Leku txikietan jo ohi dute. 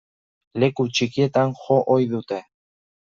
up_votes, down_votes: 2, 0